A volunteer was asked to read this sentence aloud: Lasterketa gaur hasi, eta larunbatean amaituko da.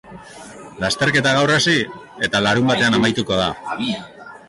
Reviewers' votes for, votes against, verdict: 2, 0, accepted